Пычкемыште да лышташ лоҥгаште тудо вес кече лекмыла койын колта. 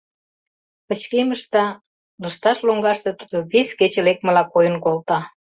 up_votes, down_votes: 0, 2